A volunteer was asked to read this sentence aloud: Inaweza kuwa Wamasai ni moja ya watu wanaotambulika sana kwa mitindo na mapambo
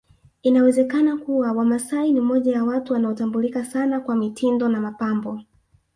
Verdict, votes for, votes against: rejected, 1, 2